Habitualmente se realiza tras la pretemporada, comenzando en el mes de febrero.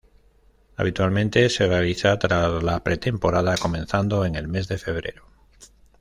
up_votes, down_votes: 1, 2